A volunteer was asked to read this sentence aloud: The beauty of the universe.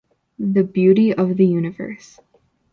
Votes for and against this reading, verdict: 2, 0, accepted